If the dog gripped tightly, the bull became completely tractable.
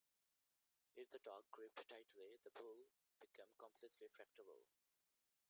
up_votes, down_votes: 0, 2